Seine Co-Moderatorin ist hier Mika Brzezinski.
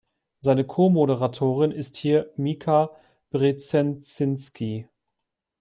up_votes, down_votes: 1, 2